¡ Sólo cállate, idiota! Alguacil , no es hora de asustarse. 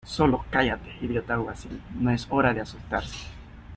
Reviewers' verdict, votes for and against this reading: accepted, 2, 0